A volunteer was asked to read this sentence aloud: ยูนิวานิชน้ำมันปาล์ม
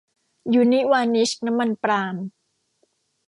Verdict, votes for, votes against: rejected, 1, 2